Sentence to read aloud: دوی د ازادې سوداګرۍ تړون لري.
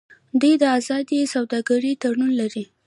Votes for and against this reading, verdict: 1, 2, rejected